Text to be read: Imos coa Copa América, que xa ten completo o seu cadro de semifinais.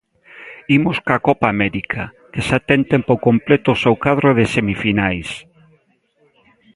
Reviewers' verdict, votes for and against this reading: accepted, 2, 1